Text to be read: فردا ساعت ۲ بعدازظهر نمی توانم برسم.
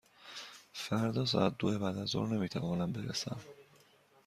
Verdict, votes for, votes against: rejected, 0, 2